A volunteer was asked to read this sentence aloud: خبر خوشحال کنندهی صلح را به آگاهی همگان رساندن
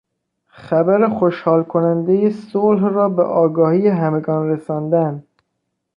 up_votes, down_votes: 2, 0